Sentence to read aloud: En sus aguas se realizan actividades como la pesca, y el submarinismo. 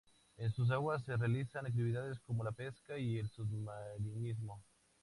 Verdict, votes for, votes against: accepted, 2, 0